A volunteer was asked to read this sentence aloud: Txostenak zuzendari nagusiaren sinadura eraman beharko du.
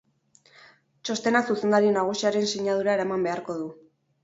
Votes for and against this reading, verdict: 4, 0, accepted